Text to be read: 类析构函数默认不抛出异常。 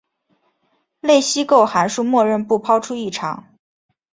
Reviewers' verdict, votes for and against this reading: accepted, 3, 0